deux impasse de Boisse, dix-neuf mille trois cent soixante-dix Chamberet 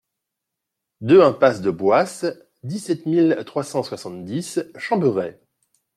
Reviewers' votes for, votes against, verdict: 0, 2, rejected